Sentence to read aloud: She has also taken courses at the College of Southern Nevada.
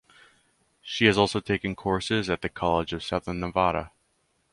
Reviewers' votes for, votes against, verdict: 2, 2, rejected